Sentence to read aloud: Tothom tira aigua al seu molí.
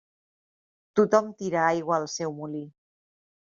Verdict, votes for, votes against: accepted, 3, 0